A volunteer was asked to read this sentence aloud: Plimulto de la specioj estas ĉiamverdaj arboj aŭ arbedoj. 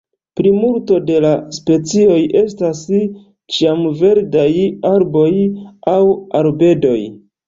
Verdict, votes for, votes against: rejected, 1, 2